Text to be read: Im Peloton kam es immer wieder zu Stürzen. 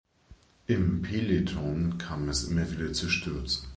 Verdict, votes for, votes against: accepted, 2, 0